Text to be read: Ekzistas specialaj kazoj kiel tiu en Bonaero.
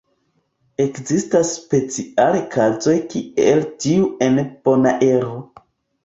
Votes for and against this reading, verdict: 0, 2, rejected